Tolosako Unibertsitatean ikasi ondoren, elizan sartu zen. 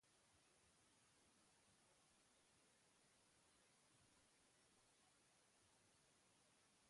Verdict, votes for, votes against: rejected, 0, 4